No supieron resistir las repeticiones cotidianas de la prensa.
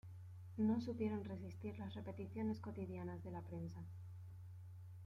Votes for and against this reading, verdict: 2, 0, accepted